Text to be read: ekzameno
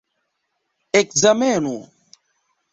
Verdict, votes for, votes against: rejected, 1, 2